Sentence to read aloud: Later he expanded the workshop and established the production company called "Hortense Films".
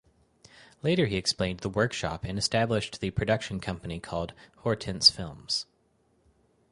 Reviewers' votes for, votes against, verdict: 2, 4, rejected